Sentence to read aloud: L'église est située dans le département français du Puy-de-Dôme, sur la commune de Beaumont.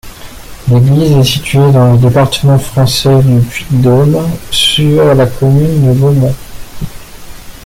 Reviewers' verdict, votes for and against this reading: rejected, 0, 2